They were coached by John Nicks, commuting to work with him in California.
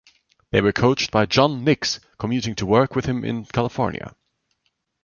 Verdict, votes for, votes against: rejected, 1, 2